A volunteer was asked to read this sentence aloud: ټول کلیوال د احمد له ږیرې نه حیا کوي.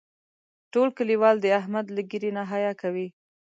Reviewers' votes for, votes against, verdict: 2, 0, accepted